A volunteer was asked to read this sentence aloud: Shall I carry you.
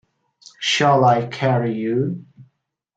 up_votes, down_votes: 2, 1